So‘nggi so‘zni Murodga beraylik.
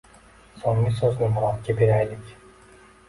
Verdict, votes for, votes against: accepted, 2, 0